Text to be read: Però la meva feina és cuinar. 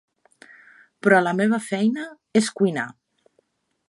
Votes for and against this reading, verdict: 3, 0, accepted